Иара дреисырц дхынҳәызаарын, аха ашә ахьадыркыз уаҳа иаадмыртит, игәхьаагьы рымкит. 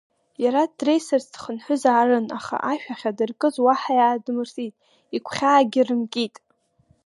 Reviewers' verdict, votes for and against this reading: accepted, 2, 1